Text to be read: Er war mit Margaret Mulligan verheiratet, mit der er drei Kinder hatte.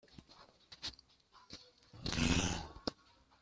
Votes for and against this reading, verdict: 0, 2, rejected